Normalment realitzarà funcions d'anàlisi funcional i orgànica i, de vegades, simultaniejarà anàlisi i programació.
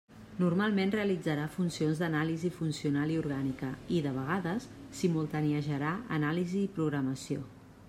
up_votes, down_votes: 2, 0